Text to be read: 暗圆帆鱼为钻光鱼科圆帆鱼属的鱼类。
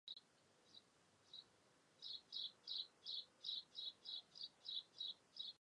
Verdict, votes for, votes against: rejected, 0, 3